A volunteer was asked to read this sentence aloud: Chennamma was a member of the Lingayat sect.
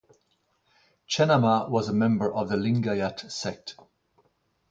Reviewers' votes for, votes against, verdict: 2, 0, accepted